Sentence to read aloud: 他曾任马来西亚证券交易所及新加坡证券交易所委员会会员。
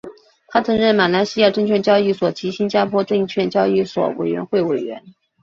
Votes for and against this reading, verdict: 2, 1, accepted